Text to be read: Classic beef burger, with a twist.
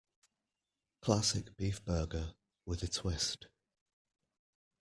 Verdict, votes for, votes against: accepted, 2, 0